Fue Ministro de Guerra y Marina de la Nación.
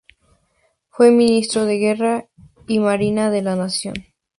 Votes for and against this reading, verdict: 2, 2, rejected